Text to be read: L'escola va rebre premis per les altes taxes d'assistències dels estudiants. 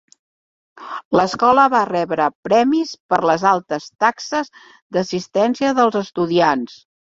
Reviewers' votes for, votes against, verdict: 1, 2, rejected